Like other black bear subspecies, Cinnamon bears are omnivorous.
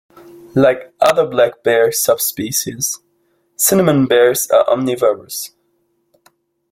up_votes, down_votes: 2, 0